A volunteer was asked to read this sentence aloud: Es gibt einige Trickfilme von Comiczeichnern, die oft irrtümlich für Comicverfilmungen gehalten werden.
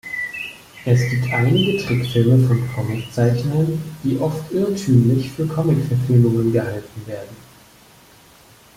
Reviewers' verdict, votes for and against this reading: rejected, 1, 2